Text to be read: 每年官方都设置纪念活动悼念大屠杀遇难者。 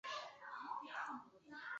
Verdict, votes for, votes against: rejected, 1, 2